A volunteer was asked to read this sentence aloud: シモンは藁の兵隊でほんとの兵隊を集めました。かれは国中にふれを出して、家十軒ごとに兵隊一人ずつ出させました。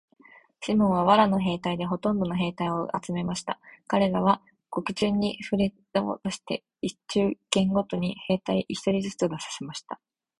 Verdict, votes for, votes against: rejected, 0, 2